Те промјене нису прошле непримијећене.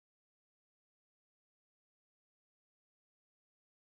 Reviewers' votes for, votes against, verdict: 0, 2, rejected